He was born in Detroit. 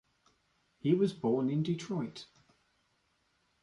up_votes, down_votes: 2, 0